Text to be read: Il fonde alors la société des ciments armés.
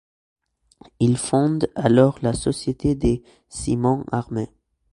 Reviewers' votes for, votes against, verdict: 2, 0, accepted